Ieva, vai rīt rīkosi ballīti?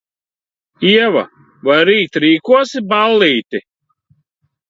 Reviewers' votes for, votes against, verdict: 2, 0, accepted